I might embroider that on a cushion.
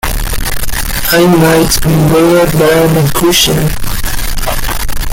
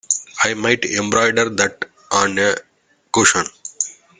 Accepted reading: second